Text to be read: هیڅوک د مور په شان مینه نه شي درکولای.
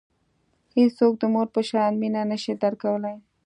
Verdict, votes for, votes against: accepted, 2, 0